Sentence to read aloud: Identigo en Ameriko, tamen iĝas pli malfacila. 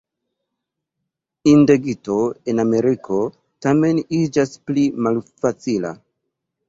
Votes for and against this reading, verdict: 0, 2, rejected